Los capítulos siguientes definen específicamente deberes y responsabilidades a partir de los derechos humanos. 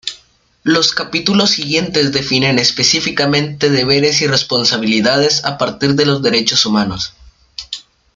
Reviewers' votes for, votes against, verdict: 2, 0, accepted